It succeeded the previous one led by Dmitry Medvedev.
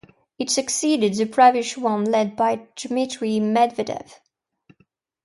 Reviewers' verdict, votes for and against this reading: accepted, 2, 0